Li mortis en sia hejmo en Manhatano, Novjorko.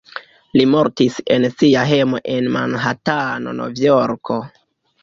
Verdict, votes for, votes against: accepted, 2, 0